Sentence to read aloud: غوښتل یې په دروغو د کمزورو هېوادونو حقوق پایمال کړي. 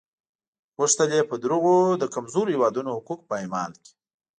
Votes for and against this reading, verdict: 2, 0, accepted